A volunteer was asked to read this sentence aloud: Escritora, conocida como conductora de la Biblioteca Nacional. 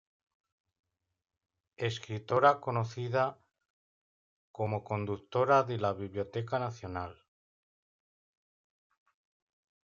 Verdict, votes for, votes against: rejected, 1, 2